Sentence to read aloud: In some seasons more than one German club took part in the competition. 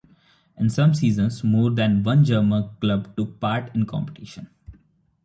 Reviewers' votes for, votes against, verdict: 1, 2, rejected